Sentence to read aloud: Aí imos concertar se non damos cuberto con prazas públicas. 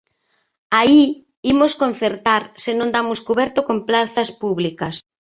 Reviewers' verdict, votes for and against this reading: accepted, 2, 1